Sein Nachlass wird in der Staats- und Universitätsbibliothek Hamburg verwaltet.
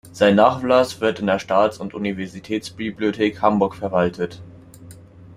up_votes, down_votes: 2, 0